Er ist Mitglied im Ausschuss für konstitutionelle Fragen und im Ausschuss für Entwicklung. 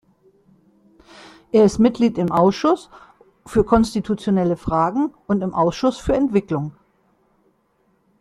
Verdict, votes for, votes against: accepted, 2, 0